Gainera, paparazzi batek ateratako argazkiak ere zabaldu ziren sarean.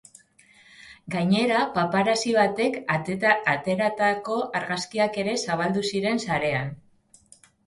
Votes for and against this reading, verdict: 0, 2, rejected